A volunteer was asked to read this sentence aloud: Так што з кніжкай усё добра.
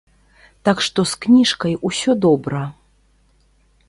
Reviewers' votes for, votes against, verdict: 2, 0, accepted